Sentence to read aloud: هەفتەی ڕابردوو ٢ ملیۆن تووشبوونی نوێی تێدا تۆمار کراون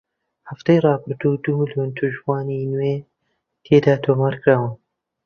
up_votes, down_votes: 0, 2